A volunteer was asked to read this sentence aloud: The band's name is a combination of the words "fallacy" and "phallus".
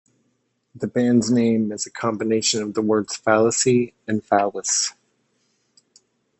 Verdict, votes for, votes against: accepted, 2, 0